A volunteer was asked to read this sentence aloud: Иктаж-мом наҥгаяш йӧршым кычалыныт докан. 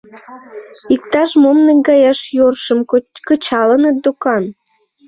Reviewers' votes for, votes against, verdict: 0, 2, rejected